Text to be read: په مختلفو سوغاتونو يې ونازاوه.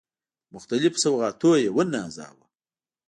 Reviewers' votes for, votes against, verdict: 2, 0, accepted